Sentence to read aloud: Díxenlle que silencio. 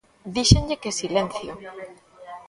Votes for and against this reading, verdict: 1, 2, rejected